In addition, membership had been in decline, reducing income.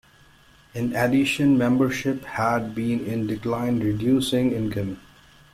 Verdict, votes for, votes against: accepted, 2, 0